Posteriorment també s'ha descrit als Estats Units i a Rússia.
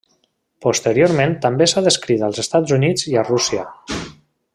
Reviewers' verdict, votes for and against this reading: accepted, 2, 0